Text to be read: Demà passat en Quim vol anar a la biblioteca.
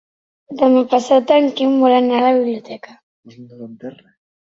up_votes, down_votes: 0, 2